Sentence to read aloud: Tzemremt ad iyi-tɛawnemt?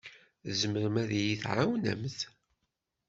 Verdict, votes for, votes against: rejected, 1, 2